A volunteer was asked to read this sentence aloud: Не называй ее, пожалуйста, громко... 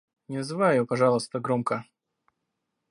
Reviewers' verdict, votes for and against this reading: rejected, 1, 2